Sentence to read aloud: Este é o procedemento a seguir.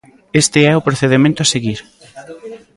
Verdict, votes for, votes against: rejected, 1, 2